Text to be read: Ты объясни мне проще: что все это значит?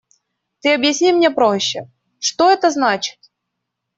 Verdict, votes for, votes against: rejected, 1, 2